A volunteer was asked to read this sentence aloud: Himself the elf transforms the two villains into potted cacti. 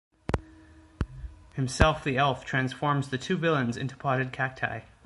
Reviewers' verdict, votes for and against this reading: accepted, 2, 0